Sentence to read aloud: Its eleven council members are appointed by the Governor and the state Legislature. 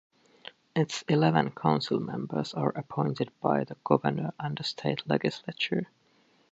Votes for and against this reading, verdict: 1, 2, rejected